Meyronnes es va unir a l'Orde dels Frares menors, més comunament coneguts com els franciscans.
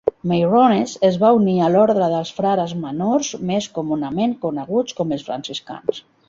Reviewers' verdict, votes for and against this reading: rejected, 1, 3